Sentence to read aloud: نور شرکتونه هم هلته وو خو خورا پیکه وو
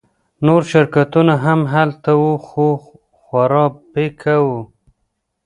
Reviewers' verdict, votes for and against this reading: rejected, 1, 2